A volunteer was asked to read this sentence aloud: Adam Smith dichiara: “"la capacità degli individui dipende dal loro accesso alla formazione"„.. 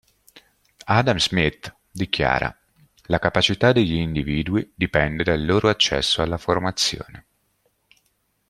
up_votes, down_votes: 2, 0